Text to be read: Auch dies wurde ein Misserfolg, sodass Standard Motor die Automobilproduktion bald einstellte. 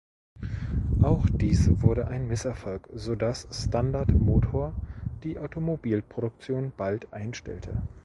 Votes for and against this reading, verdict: 1, 2, rejected